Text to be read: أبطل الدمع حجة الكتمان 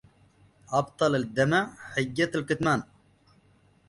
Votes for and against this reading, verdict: 1, 2, rejected